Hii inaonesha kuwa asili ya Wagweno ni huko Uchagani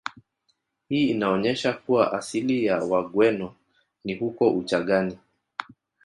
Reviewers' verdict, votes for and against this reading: rejected, 1, 2